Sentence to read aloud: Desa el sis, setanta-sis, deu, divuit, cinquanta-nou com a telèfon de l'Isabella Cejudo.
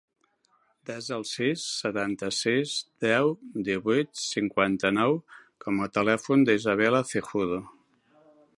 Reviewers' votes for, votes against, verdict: 1, 2, rejected